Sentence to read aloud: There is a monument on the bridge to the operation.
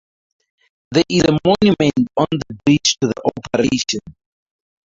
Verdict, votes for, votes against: rejected, 0, 2